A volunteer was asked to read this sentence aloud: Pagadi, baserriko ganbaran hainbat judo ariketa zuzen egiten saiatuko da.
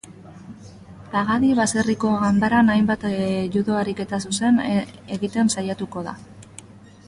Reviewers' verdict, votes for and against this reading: rejected, 0, 2